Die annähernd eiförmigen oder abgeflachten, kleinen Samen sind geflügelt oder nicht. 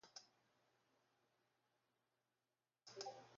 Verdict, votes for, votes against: rejected, 0, 2